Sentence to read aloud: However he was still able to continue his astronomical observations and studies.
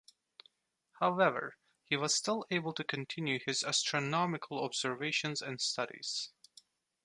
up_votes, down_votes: 2, 0